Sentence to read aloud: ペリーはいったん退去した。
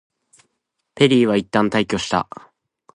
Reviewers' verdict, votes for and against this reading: accepted, 2, 0